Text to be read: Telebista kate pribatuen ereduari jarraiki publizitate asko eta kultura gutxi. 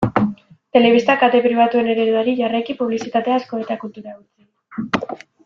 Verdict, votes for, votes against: rejected, 1, 2